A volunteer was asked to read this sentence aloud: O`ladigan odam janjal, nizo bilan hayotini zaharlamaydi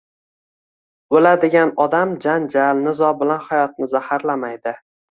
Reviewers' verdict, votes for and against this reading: accepted, 2, 0